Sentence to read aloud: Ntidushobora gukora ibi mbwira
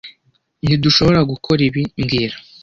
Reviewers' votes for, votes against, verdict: 2, 0, accepted